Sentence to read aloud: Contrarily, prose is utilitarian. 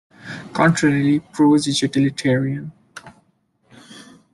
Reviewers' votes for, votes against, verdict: 2, 0, accepted